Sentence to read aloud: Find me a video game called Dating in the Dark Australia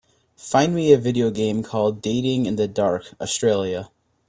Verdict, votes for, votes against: accepted, 2, 0